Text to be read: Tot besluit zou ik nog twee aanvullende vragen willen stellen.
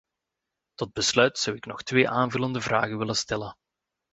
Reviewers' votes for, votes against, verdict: 2, 0, accepted